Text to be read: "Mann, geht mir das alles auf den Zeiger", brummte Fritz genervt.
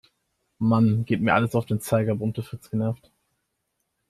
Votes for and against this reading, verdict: 2, 3, rejected